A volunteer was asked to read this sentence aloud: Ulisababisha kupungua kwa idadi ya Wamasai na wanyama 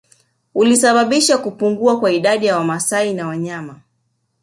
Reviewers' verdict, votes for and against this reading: accepted, 2, 0